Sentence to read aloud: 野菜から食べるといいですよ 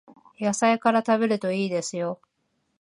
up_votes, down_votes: 2, 0